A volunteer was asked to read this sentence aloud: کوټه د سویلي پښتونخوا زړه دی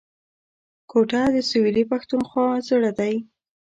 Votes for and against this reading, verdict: 1, 2, rejected